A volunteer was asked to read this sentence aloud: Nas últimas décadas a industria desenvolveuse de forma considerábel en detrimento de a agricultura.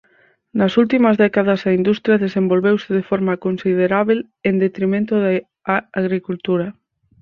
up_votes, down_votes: 4, 0